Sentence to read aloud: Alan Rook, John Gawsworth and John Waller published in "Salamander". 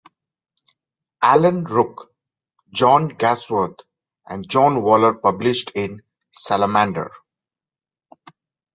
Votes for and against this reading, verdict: 2, 0, accepted